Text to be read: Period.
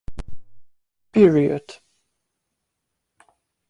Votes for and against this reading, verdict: 2, 0, accepted